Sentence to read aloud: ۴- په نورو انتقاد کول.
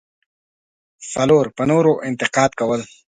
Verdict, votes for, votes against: rejected, 0, 2